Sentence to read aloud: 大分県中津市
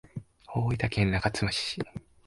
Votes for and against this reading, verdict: 2, 0, accepted